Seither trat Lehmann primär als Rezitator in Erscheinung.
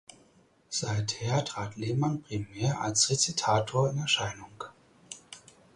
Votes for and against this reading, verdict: 4, 0, accepted